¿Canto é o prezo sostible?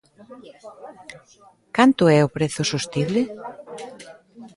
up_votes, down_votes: 0, 2